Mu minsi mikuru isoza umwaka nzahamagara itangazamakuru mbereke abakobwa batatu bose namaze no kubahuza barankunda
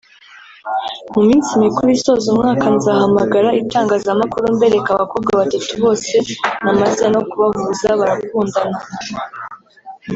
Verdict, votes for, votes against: rejected, 0, 2